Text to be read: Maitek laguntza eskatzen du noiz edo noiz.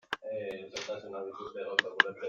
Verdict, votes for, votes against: rejected, 0, 2